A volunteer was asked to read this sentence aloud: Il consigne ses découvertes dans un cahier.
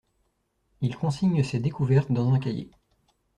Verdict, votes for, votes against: accepted, 2, 0